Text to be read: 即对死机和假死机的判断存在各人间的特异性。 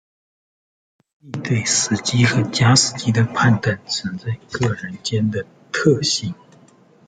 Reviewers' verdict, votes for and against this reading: rejected, 1, 2